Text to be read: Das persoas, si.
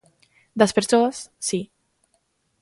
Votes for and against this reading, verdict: 2, 0, accepted